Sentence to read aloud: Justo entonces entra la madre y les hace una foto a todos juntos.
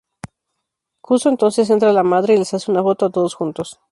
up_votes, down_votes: 2, 2